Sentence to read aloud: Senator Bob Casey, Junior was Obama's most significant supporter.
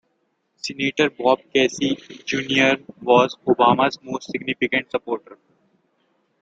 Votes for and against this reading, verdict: 2, 0, accepted